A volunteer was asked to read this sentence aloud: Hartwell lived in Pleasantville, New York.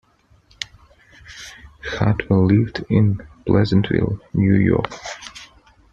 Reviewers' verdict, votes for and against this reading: accepted, 2, 0